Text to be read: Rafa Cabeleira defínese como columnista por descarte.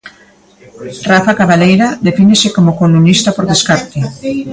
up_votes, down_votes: 0, 3